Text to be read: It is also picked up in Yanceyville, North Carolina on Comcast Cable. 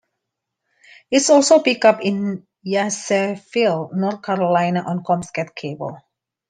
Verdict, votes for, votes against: rejected, 1, 2